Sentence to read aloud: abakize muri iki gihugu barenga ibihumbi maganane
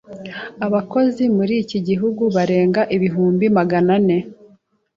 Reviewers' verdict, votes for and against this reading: rejected, 0, 2